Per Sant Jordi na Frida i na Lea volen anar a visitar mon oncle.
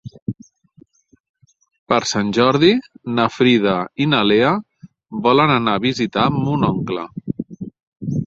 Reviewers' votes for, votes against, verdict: 1, 2, rejected